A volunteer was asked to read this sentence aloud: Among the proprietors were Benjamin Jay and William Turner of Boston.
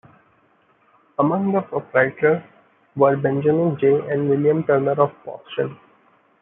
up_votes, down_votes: 0, 2